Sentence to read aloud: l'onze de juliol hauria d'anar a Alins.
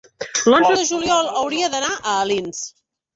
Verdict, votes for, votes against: accepted, 3, 1